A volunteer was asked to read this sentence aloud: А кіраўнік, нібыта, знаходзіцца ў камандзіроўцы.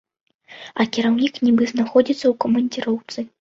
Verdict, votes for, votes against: rejected, 0, 2